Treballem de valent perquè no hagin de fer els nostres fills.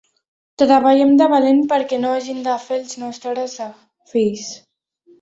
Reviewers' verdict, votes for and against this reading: rejected, 0, 2